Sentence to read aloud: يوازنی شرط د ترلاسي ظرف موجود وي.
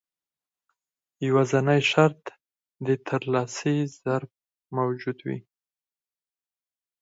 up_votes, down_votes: 4, 0